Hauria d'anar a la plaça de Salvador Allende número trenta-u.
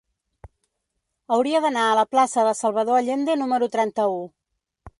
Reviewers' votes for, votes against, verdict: 3, 0, accepted